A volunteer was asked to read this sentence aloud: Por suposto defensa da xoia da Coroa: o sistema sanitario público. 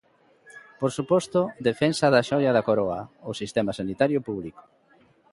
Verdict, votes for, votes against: accepted, 2, 0